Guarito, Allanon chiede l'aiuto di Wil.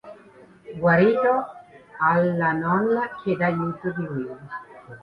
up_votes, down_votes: 0, 3